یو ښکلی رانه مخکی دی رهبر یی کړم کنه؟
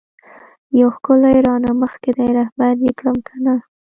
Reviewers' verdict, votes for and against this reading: rejected, 0, 2